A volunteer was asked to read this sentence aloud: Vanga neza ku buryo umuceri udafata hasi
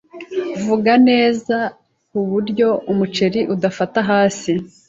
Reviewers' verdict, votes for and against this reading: rejected, 0, 2